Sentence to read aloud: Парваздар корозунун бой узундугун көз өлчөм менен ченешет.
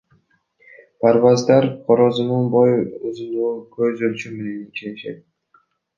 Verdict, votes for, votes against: rejected, 1, 2